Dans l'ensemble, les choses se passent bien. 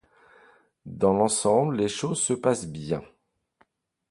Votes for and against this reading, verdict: 2, 0, accepted